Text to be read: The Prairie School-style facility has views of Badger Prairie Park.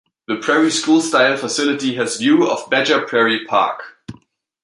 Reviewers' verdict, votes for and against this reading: rejected, 0, 2